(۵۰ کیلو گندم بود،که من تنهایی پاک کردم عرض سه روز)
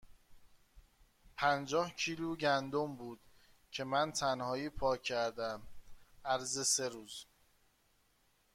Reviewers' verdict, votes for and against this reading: rejected, 0, 2